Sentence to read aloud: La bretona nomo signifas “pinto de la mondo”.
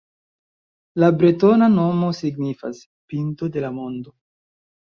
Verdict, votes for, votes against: accepted, 2, 1